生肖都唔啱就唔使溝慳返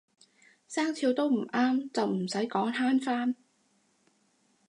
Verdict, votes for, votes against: rejected, 2, 2